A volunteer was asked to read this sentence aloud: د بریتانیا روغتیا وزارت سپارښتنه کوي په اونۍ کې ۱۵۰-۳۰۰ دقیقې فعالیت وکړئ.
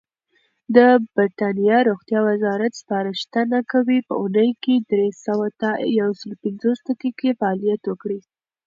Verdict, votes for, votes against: rejected, 0, 2